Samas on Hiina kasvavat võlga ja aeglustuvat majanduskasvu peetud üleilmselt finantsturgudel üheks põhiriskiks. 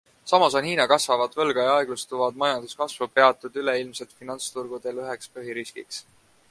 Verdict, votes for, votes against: accepted, 2, 0